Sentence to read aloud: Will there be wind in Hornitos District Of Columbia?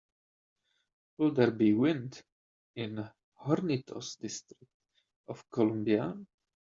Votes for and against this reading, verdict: 2, 0, accepted